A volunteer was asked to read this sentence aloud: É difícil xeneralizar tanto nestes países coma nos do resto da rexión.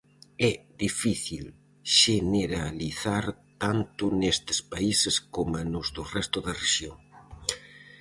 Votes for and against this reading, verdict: 2, 2, rejected